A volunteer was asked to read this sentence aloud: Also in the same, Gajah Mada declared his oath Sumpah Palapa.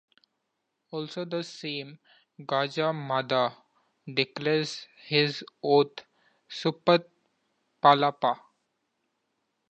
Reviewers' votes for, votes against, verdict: 0, 2, rejected